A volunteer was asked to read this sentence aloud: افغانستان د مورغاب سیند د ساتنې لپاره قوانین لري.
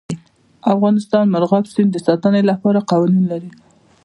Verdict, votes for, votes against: accepted, 2, 0